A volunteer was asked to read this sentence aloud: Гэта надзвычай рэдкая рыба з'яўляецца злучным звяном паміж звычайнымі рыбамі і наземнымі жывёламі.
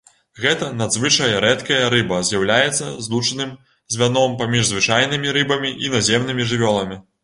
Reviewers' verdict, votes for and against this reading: rejected, 1, 2